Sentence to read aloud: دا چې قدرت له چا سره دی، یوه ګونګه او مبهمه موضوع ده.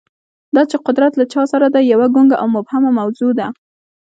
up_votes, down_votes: 2, 1